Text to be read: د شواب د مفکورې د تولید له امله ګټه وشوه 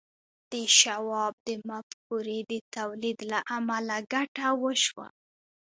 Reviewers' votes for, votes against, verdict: 1, 2, rejected